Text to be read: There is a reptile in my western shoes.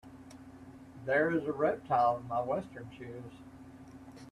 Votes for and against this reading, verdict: 2, 1, accepted